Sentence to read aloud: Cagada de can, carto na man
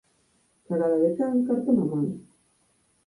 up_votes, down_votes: 2, 4